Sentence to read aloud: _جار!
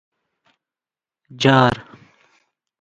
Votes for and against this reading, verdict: 2, 1, accepted